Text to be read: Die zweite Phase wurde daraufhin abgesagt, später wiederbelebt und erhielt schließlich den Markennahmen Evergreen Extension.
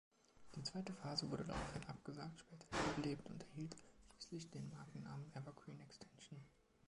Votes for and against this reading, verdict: 0, 2, rejected